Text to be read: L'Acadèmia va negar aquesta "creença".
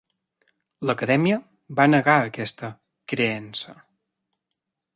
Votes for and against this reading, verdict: 3, 0, accepted